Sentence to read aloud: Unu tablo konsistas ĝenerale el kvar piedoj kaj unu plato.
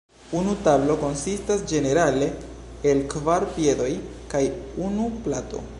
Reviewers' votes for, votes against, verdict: 2, 0, accepted